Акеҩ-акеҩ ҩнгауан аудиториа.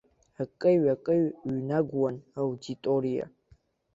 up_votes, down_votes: 0, 2